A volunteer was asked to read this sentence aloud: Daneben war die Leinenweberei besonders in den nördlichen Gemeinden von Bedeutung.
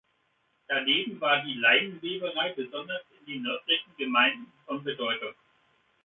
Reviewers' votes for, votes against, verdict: 2, 0, accepted